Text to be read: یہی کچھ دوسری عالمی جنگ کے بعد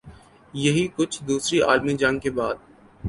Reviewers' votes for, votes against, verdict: 2, 0, accepted